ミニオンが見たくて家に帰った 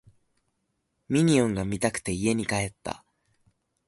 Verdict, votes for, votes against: accepted, 2, 0